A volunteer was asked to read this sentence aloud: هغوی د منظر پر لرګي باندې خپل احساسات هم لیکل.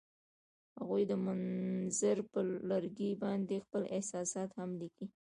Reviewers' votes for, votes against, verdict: 1, 2, rejected